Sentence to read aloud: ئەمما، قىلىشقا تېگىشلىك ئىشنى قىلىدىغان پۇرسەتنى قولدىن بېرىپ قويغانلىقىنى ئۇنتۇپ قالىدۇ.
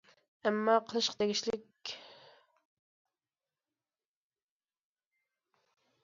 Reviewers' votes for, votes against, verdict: 0, 2, rejected